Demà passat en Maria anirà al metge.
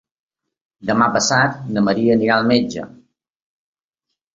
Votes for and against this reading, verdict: 1, 2, rejected